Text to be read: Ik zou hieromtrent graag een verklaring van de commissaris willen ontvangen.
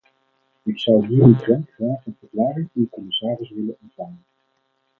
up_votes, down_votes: 2, 4